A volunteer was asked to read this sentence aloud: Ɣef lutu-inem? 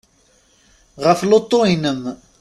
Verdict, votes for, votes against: rejected, 1, 2